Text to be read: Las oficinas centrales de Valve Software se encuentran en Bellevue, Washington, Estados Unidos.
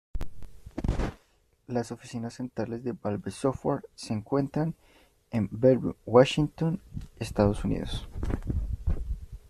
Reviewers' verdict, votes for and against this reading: rejected, 0, 2